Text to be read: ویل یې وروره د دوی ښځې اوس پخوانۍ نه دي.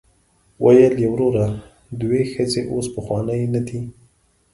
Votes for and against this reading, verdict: 2, 0, accepted